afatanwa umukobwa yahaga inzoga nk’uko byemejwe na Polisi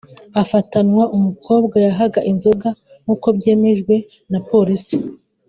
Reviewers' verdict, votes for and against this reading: accepted, 2, 0